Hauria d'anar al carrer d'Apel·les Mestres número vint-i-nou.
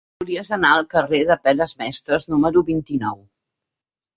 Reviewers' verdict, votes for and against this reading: rejected, 3, 9